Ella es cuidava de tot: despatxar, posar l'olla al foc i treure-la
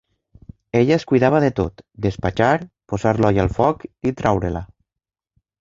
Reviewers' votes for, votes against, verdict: 2, 1, accepted